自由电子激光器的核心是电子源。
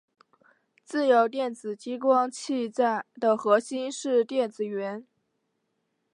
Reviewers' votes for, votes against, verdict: 1, 2, rejected